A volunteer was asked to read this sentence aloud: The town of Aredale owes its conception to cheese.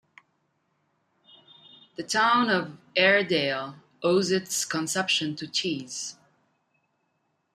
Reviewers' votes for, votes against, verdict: 2, 0, accepted